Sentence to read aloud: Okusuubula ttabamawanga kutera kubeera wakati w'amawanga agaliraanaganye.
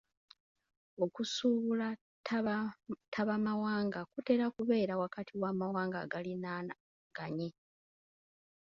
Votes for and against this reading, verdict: 0, 2, rejected